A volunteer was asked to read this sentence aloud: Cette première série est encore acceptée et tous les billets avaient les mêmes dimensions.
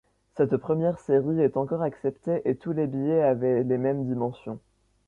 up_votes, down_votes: 2, 0